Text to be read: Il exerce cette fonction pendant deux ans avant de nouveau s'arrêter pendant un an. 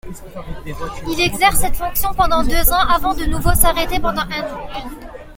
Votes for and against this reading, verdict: 2, 0, accepted